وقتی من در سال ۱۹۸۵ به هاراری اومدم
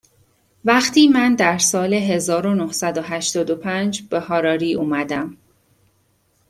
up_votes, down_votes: 0, 2